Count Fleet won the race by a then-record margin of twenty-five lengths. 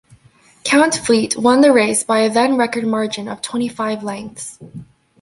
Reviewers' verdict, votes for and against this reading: accepted, 3, 1